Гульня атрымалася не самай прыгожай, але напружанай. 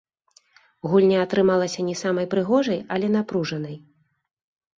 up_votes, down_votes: 2, 1